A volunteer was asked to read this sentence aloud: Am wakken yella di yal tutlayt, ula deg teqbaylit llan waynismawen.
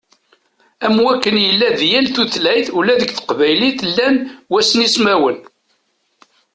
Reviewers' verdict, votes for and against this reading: accepted, 2, 0